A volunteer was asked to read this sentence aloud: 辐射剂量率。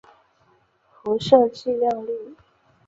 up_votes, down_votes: 3, 0